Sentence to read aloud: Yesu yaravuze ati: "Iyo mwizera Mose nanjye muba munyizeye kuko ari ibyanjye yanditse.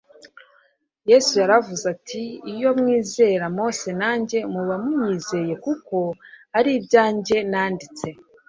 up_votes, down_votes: 1, 2